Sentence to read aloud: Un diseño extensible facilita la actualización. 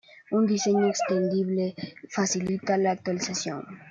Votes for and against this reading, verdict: 0, 2, rejected